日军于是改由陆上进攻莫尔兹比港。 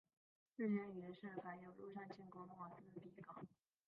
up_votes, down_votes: 0, 2